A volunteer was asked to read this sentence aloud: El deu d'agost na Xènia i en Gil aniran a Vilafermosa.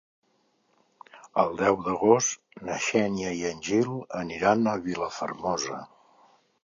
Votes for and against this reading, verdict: 2, 0, accepted